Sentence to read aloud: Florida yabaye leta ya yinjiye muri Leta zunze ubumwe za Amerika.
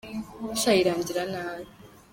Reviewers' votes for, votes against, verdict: 0, 2, rejected